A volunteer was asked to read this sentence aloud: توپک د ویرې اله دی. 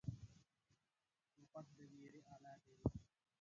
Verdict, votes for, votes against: rejected, 1, 2